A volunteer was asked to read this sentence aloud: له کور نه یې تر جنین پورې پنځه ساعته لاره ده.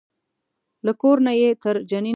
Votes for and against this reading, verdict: 0, 2, rejected